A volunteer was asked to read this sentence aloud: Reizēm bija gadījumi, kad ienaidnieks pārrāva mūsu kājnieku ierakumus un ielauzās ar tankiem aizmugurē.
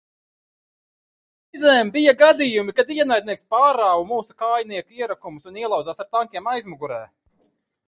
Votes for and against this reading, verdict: 1, 2, rejected